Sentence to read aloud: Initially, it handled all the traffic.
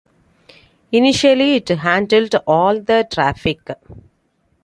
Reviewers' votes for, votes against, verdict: 2, 0, accepted